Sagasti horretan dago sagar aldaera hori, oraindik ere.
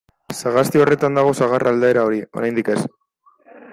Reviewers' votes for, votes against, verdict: 0, 2, rejected